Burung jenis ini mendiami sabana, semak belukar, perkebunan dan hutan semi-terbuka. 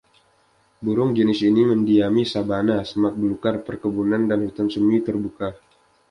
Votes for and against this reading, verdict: 2, 1, accepted